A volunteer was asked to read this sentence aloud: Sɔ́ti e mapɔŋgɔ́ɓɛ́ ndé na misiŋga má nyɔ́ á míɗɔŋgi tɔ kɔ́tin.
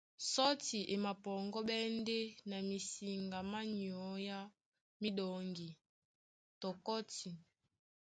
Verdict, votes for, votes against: accepted, 2, 0